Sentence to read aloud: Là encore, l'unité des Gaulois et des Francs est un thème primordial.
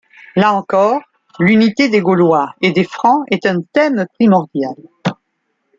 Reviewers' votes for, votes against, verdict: 2, 0, accepted